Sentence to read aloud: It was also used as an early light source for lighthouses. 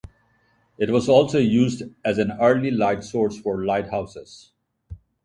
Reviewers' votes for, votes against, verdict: 4, 0, accepted